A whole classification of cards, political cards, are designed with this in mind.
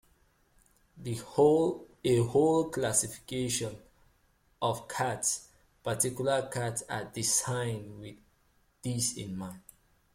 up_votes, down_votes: 0, 3